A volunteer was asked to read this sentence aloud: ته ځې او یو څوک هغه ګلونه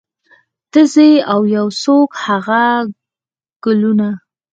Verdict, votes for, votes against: accepted, 4, 2